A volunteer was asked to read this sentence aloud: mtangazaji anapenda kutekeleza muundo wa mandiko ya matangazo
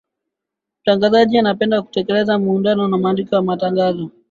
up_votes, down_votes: 9, 9